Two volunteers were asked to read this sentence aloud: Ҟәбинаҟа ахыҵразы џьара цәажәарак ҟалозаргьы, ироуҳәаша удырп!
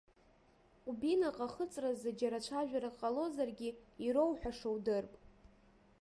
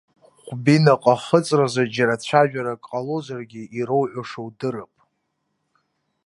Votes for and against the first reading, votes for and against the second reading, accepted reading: 1, 2, 2, 0, second